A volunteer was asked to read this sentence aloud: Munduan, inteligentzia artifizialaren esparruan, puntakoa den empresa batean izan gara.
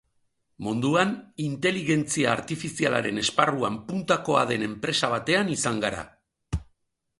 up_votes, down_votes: 3, 5